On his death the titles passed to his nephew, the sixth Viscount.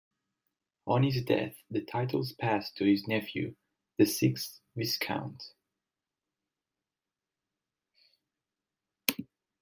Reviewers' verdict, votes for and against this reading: rejected, 1, 2